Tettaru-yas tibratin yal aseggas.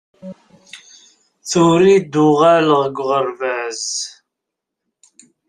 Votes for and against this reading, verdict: 0, 2, rejected